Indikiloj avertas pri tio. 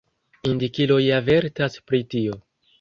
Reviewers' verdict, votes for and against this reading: accepted, 2, 0